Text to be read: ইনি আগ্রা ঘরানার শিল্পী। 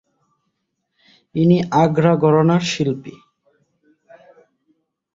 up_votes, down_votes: 3, 3